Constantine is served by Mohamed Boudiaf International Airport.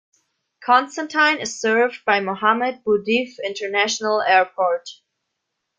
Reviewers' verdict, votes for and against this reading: rejected, 1, 2